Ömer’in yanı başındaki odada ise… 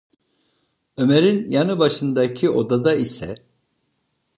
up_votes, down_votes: 2, 0